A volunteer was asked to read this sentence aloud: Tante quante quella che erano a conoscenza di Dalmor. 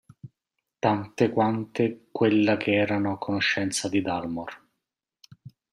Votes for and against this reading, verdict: 2, 0, accepted